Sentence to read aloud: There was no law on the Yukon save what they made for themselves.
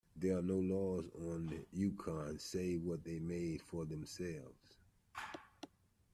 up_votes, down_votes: 1, 2